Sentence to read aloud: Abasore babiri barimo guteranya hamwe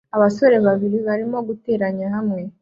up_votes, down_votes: 2, 0